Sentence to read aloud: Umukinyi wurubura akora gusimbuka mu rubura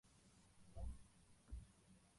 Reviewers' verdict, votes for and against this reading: rejected, 0, 2